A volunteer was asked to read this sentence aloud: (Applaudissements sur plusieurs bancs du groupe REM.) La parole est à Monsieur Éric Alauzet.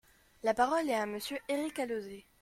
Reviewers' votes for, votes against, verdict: 1, 2, rejected